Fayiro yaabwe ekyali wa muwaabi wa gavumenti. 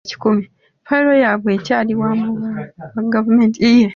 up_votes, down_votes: 0, 2